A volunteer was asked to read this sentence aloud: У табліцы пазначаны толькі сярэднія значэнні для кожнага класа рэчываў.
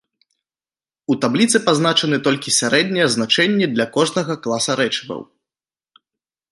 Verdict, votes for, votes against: accepted, 2, 0